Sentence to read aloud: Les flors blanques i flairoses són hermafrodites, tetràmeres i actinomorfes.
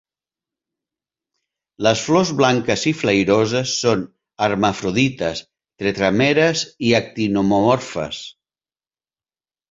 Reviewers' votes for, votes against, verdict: 2, 1, accepted